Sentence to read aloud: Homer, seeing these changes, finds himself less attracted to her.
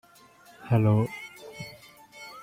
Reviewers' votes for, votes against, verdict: 0, 2, rejected